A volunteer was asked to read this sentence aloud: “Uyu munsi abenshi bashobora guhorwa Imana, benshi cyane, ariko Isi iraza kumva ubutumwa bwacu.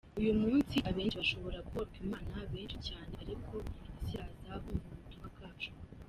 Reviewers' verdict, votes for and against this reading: rejected, 0, 2